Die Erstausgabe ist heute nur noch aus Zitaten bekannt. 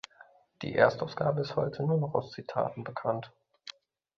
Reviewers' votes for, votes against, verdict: 2, 0, accepted